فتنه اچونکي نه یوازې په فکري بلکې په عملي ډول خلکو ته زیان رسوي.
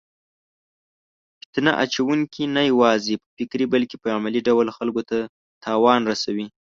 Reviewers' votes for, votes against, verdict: 0, 2, rejected